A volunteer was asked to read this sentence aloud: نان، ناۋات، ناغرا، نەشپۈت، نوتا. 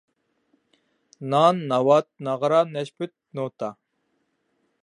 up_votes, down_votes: 2, 0